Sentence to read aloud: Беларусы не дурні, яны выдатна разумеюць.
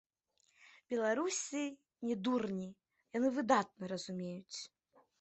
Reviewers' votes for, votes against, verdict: 1, 2, rejected